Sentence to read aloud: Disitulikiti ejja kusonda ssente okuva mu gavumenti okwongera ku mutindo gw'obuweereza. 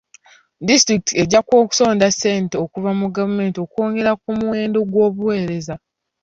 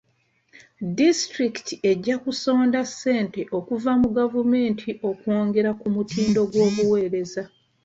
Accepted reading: second